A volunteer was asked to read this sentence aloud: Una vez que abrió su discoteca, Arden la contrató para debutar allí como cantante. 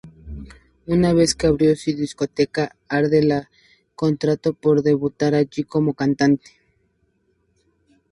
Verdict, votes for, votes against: rejected, 0, 2